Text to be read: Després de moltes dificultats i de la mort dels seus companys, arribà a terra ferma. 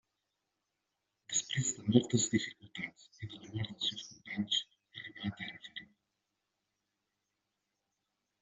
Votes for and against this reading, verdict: 1, 2, rejected